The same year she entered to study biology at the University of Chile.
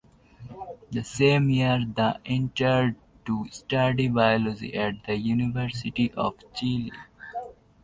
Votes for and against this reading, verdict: 1, 2, rejected